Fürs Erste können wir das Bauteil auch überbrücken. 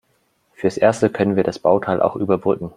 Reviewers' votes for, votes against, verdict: 2, 0, accepted